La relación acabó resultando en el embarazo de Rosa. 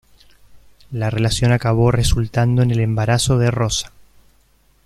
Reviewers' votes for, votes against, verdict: 2, 0, accepted